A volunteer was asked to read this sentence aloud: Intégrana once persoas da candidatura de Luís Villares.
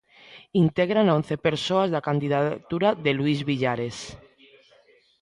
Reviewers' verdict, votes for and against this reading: rejected, 0, 2